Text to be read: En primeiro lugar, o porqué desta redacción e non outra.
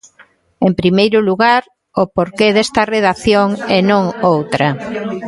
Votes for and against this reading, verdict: 2, 1, accepted